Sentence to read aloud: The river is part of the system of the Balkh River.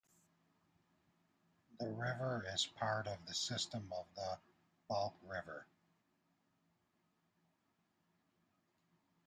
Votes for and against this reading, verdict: 2, 0, accepted